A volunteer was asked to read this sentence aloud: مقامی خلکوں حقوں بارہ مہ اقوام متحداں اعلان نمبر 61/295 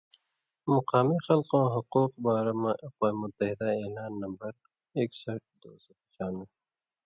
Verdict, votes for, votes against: rejected, 0, 2